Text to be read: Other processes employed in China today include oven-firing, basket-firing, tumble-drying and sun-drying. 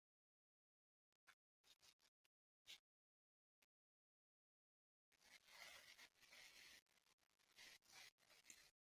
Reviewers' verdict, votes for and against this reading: rejected, 0, 2